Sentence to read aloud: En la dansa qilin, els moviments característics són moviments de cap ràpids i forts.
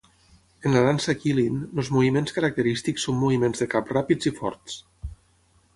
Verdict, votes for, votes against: accepted, 6, 3